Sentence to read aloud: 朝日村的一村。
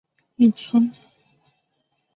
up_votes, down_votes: 1, 3